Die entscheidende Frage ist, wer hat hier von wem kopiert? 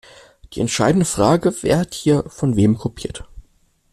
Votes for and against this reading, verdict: 0, 2, rejected